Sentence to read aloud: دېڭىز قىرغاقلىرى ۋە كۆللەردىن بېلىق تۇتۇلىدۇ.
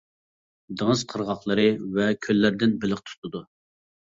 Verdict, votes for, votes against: rejected, 0, 2